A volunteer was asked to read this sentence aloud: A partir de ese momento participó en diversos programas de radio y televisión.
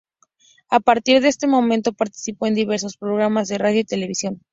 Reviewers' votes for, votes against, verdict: 0, 2, rejected